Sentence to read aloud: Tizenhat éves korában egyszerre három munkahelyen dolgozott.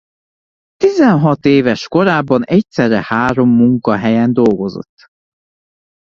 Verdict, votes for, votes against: accepted, 2, 0